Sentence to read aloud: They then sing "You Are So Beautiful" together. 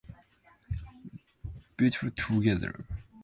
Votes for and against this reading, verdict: 0, 2, rejected